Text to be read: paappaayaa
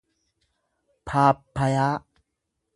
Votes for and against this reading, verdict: 1, 2, rejected